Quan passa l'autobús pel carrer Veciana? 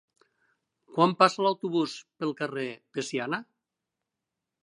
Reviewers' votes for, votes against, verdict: 0, 2, rejected